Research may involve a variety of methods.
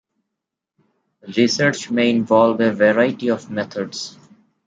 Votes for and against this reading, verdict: 2, 0, accepted